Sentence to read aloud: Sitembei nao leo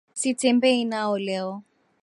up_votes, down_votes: 1, 2